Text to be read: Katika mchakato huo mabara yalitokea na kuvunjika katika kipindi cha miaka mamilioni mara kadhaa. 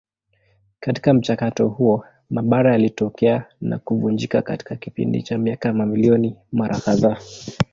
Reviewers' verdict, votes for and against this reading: accepted, 2, 1